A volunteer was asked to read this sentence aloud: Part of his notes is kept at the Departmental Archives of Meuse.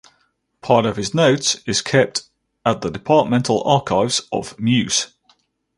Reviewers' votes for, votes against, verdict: 2, 2, rejected